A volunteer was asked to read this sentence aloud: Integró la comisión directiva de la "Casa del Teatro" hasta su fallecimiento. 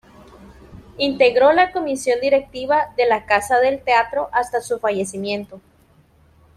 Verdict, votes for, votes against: accepted, 2, 0